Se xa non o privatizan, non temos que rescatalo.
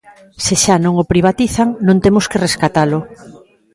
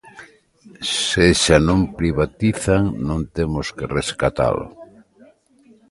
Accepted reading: first